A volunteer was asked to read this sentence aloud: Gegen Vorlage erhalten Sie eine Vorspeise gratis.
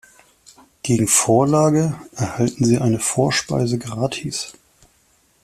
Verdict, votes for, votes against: accepted, 2, 0